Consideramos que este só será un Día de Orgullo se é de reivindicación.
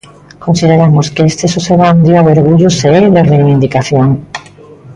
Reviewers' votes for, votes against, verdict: 2, 1, accepted